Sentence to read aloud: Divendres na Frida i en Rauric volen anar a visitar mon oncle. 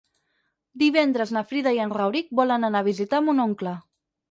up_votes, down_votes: 6, 0